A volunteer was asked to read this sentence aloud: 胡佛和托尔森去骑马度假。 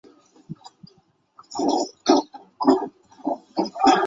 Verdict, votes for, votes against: rejected, 0, 3